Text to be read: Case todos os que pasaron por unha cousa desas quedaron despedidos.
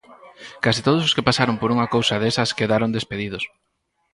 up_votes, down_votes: 4, 0